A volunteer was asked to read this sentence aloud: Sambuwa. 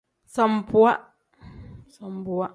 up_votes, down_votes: 1, 2